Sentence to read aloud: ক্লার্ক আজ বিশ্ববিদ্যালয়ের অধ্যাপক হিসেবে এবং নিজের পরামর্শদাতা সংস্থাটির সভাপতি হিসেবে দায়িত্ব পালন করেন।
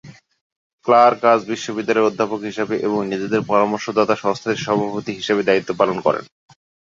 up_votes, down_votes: 0, 2